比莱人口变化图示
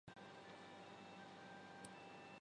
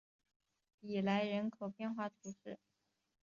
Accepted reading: second